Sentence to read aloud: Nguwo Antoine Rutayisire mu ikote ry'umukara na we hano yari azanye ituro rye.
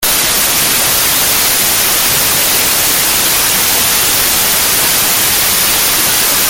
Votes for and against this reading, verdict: 0, 2, rejected